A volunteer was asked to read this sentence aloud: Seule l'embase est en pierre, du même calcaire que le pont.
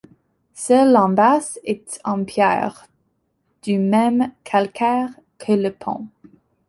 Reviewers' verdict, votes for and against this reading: accepted, 2, 0